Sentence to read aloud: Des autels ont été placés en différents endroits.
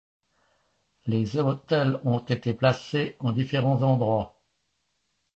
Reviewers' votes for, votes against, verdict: 2, 0, accepted